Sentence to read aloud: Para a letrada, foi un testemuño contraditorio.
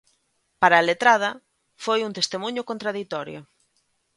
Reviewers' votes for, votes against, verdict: 2, 0, accepted